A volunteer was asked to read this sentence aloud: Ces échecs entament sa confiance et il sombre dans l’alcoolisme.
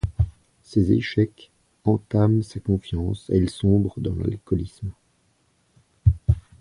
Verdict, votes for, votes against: accepted, 2, 0